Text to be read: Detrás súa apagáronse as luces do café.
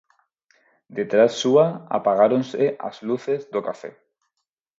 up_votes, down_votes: 4, 0